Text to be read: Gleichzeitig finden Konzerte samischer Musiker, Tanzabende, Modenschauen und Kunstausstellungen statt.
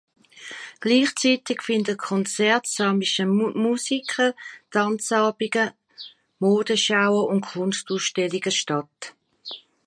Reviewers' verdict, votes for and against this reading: rejected, 0, 3